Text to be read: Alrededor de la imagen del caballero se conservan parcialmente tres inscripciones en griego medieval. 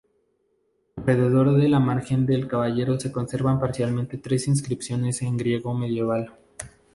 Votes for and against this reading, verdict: 0, 4, rejected